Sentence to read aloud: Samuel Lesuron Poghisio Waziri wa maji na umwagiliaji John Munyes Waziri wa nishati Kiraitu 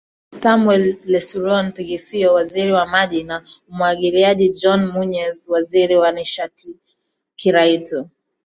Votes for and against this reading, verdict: 0, 2, rejected